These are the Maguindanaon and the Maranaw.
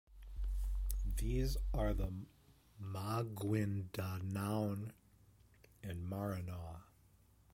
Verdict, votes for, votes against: rejected, 1, 2